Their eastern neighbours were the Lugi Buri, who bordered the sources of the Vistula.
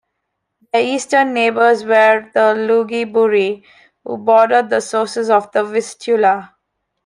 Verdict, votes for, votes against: accepted, 2, 0